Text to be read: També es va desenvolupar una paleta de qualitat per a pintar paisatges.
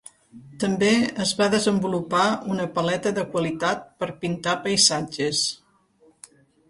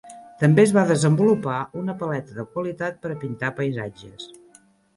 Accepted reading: second